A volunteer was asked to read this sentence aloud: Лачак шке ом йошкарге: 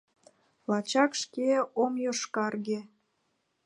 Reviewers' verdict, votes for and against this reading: accepted, 2, 0